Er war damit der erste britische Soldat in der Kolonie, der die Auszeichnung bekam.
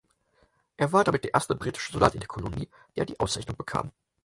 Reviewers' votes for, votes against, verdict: 4, 2, accepted